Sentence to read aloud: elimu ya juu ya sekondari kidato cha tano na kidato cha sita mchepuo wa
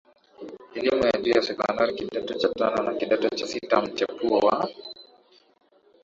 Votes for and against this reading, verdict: 2, 1, accepted